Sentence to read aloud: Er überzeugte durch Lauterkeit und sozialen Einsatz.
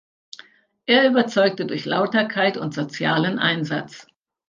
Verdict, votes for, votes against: accepted, 2, 0